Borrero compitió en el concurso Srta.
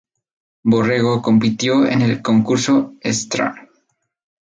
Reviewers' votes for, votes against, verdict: 0, 2, rejected